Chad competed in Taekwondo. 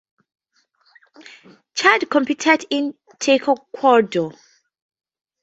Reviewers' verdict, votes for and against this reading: accepted, 2, 0